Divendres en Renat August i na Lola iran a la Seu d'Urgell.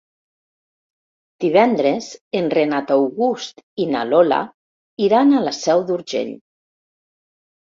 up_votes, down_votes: 3, 0